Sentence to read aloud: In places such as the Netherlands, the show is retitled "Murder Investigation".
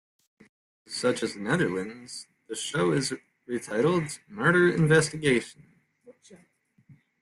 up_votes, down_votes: 0, 2